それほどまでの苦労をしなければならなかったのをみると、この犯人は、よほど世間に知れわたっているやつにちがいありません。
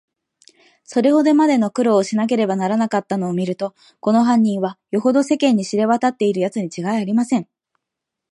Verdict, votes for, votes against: accepted, 2, 0